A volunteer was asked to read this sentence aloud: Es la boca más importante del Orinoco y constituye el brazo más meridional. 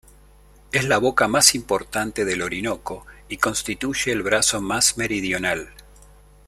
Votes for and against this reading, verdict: 2, 0, accepted